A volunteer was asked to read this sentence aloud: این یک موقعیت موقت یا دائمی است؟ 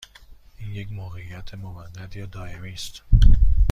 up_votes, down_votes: 2, 1